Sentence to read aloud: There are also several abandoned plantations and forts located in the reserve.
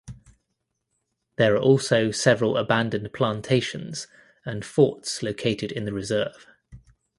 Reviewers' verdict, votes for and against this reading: accepted, 2, 0